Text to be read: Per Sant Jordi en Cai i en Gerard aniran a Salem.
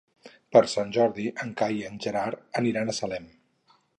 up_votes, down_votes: 4, 0